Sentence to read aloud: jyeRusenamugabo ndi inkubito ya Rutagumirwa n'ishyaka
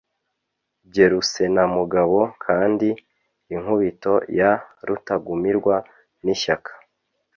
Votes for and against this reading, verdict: 0, 2, rejected